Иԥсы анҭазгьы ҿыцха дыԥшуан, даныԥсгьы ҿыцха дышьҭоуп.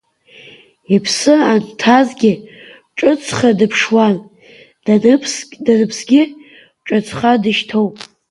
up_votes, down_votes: 0, 2